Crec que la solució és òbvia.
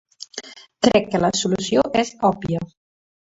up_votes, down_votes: 2, 0